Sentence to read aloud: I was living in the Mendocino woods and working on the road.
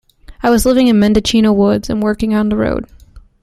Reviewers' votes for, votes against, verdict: 1, 2, rejected